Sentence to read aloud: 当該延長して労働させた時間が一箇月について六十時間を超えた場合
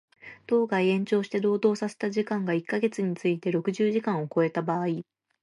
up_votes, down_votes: 2, 0